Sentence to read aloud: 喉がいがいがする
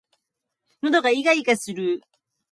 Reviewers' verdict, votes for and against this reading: accepted, 2, 0